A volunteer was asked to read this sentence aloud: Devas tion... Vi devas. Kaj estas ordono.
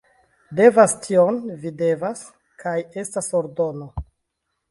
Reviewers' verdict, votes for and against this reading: accepted, 2, 0